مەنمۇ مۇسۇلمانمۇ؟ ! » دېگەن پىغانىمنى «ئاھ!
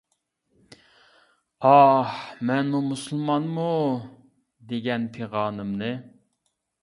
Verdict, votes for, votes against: rejected, 0, 2